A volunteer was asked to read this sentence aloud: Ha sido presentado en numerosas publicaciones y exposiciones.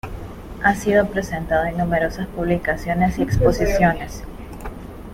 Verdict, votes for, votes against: accepted, 2, 1